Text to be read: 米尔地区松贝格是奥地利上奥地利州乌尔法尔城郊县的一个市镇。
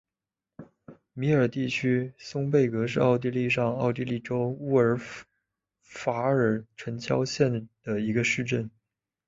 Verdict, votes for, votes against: accepted, 3, 0